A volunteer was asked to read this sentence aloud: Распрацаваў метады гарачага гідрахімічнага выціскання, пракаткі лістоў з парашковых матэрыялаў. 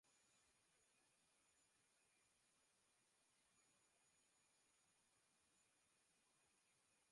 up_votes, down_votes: 0, 2